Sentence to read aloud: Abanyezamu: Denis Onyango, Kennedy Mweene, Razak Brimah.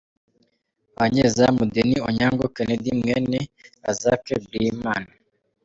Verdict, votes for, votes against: accepted, 2, 0